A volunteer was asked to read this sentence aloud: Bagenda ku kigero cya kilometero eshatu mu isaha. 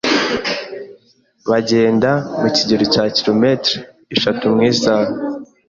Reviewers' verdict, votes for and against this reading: rejected, 1, 2